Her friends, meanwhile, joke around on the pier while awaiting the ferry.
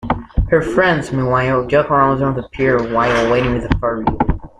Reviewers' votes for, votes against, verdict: 1, 2, rejected